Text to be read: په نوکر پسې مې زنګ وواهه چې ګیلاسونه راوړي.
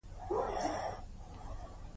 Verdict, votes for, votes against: accepted, 2, 1